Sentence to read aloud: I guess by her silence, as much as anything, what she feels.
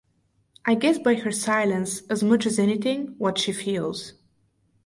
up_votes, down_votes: 4, 0